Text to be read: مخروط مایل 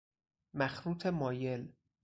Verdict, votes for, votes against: accepted, 2, 0